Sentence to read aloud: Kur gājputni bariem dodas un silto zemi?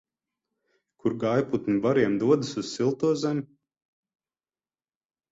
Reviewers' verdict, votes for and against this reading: rejected, 6, 12